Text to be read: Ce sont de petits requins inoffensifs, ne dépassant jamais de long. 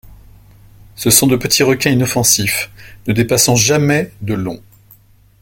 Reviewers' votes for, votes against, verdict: 1, 2, rejected